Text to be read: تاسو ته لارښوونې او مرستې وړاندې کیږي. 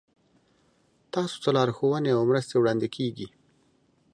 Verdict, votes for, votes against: accepted, 2, 0